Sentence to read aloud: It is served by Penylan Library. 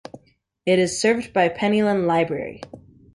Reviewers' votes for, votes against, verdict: 2, 0, accepted